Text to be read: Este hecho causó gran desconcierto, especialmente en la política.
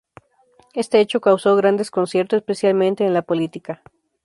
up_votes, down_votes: 2, 0